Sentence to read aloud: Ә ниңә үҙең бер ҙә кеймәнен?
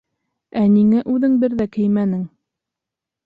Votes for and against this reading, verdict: 2, 0, accepted